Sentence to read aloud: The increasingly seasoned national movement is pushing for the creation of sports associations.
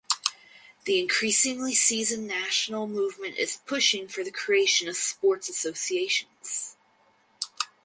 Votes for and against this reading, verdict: 4, 0, accepted